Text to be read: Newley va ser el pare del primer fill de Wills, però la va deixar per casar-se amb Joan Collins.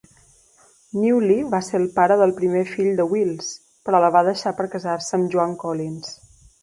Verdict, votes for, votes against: accepted, 2, 0